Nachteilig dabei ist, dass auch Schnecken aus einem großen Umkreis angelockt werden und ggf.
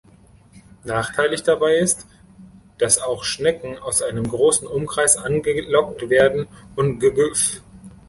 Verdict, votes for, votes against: rejected, 0, 2